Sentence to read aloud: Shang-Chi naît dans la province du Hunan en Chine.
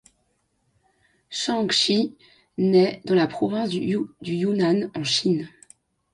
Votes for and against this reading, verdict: 2, 0, accepted